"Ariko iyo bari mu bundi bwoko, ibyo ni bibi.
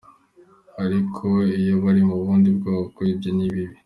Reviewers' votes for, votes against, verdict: 3, 0, accepted